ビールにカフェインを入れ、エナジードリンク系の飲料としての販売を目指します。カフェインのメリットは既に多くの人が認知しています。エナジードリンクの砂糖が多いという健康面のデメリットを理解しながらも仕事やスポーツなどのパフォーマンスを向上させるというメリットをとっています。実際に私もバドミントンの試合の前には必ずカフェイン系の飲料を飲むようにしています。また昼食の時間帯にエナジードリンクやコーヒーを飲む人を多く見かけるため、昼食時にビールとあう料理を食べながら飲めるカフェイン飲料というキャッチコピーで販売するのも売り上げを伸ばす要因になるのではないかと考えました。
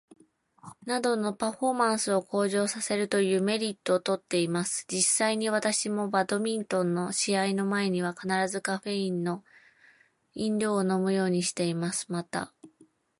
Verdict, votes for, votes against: rejected, 0, 2